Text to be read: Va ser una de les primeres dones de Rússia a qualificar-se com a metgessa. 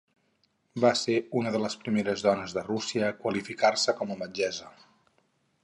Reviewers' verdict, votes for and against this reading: rejected, 2, 2